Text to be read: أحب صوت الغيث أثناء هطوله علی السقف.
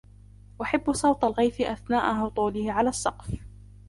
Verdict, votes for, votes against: rejected, 0, 2